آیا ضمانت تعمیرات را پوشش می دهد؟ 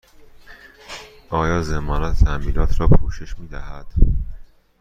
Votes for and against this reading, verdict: 2, 0, accepted